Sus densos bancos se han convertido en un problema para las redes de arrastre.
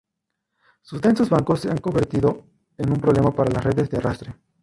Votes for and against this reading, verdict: 0, 2, rejected